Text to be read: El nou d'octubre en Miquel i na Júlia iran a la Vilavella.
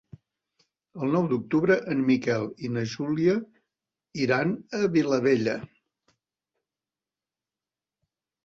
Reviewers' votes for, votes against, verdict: 1, 2, rejected